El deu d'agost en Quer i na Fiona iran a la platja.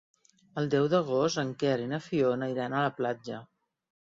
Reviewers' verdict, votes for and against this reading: accepted, 3, 1